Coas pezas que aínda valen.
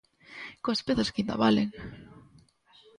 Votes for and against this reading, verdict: 1, 2, rejected